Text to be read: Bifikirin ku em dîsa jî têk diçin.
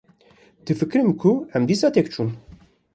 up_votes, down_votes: 1, 2